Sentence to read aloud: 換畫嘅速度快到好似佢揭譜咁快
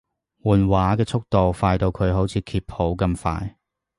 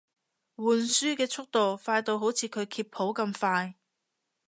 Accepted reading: first